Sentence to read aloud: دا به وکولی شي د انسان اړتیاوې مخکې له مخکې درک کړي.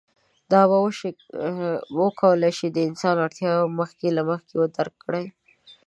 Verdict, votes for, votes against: rejected, 1, 2